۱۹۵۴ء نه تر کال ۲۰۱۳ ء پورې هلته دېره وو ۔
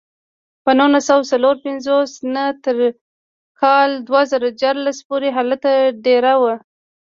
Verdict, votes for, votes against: rejected, 0, 2